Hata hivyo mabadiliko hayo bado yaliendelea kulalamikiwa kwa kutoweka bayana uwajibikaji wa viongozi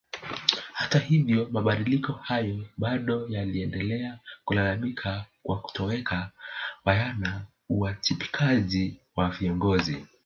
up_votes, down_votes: 1, 2